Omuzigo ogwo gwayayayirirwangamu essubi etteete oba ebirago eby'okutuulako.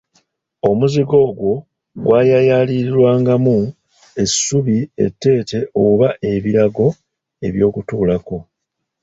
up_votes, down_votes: 0, 2